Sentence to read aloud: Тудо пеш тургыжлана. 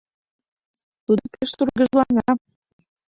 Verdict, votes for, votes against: accepted, 2, 0